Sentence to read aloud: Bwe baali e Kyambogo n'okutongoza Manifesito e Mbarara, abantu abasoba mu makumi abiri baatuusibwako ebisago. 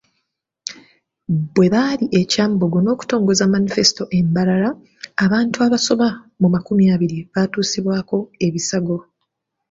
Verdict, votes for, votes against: accepted, 2, 0